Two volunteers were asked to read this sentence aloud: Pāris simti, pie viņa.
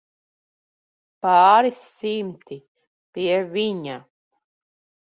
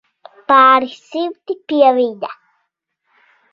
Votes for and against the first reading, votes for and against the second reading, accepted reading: 1, 2, 2, 0, second